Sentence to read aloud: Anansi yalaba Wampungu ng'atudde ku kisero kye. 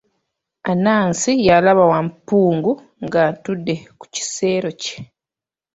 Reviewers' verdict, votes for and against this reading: accepted, 2, 0